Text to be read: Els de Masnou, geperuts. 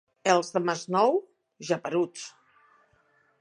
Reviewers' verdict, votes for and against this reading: accepted, 2, 0